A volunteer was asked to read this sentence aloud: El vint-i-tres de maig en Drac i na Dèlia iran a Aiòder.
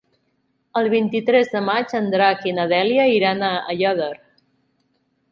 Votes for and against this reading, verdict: 2, 0, accepted